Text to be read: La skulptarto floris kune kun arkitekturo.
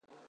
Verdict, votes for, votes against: rejected, 0, 2